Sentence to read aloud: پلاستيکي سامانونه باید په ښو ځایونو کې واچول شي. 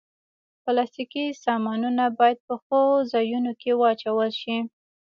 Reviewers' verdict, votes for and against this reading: accepted, 4, 0